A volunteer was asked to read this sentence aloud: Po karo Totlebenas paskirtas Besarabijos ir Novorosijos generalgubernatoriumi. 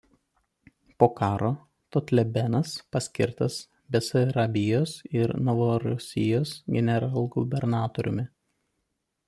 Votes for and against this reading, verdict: 1, 2, rejected